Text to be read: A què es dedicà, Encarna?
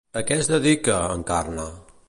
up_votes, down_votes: 0, 2